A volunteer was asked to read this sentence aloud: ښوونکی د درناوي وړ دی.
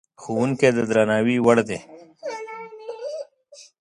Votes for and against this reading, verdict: 1, 2, rejected